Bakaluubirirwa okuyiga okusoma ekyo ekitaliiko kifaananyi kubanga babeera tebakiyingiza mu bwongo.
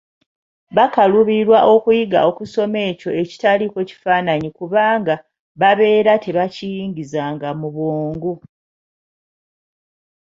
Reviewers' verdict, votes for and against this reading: rejected, 1, 2